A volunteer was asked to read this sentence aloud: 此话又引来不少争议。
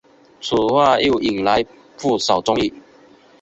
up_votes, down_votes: 2, 0